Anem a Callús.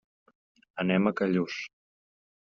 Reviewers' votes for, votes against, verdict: 3, 0, accepted